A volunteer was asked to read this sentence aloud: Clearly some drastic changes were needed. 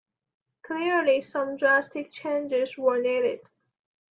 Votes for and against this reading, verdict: 2, 1, accepted